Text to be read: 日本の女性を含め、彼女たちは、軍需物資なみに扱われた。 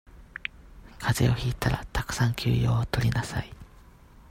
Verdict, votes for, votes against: rejected, 0, 2